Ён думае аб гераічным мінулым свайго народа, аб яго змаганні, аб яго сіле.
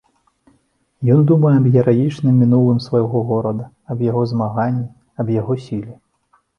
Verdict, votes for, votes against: rejected, 0, 2